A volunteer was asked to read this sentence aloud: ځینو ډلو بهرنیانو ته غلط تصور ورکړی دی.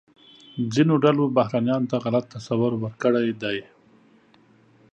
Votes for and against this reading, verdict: 2, 0, accepted